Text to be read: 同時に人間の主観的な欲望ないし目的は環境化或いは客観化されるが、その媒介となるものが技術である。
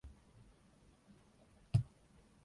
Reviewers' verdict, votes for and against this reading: rejected, 0, 3